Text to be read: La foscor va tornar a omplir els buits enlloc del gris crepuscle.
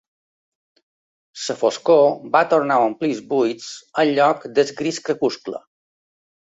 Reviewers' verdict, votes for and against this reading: rejected, 0, 2